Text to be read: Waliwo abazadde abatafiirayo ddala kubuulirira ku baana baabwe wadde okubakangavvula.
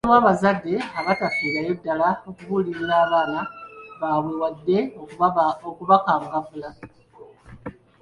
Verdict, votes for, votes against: rejected, 0, 2